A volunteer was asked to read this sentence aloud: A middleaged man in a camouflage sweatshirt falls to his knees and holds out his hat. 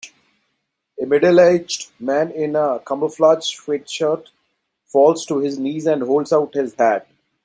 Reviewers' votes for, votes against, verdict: 3, 0, accepted